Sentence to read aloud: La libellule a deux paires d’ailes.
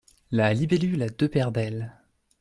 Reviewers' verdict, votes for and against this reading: accepted, 2, 0